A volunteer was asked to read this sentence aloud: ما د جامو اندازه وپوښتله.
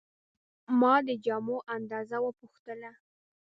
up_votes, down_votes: 2, 1